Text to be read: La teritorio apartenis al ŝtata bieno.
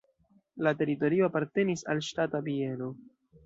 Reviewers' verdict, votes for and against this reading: rejected, 1, 2